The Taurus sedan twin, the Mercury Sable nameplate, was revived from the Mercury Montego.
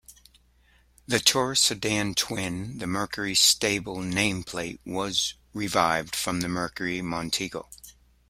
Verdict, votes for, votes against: rejected, 0, 2